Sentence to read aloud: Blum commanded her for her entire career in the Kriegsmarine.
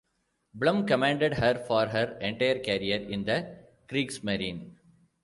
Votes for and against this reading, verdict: 2, 1, accepted